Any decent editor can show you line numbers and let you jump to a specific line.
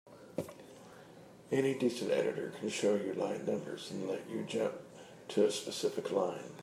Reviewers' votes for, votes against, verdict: 2, 0, accepted